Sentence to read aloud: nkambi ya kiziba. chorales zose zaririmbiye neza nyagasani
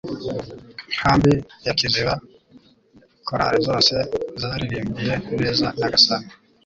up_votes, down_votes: 0, 2